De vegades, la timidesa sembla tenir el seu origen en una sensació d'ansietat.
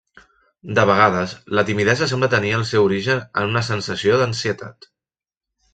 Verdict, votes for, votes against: accepted, 3, 0